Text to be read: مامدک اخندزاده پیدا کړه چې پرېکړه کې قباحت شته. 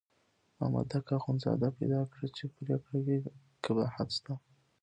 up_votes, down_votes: 1, 2